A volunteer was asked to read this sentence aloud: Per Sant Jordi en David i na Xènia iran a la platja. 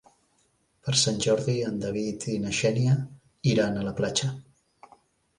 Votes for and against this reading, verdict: 3, 0, accepted